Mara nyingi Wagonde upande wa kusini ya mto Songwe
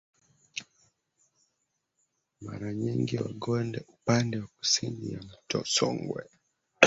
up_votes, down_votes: 0, 2